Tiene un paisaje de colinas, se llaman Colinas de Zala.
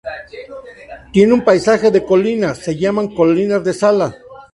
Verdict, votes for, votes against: accepted, 2, 0